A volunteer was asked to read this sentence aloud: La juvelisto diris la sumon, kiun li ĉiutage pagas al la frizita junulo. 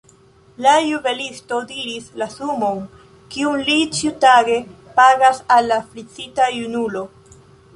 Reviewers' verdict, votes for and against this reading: rejected, 0, 2